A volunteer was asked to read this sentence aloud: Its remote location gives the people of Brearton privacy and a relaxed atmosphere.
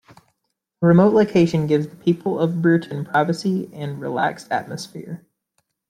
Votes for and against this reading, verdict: 1, 2, rejected